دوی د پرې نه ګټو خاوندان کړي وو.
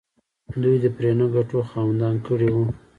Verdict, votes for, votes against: rejected, 0, 2